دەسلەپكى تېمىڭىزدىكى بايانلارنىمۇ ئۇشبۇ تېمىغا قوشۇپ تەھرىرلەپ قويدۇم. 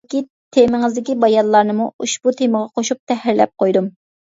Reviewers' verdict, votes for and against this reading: rejected, 0, 2